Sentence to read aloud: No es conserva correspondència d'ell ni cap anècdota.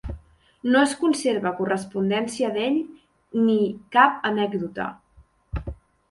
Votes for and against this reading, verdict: 2, 0, accepted